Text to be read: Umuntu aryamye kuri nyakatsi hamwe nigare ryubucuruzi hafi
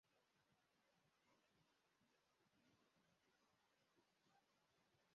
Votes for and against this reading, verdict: 0, 2, rejected